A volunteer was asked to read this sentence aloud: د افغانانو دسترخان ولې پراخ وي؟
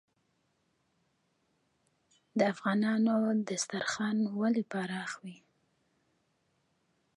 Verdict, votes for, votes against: rejected, 1, 2